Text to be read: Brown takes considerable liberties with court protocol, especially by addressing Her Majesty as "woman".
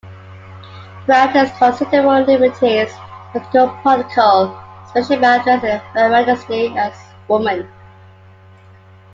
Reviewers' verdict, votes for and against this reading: accepted, 2, 1